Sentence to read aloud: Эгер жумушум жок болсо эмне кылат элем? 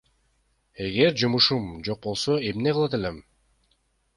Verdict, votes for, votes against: rejected, 0, 2